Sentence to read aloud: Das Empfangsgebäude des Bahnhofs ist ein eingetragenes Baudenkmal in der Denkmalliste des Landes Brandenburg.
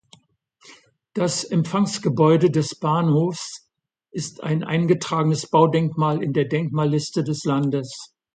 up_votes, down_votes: 1, 2